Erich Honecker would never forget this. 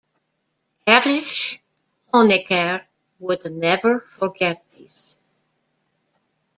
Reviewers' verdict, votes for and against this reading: accepted, 2, 0